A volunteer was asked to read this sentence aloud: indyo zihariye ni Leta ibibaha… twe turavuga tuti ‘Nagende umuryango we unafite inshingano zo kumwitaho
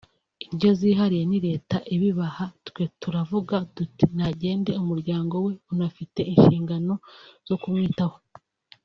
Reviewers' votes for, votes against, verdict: 2, 0, accepted